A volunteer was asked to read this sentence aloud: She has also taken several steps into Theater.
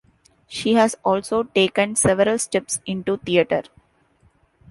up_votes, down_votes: 2, 0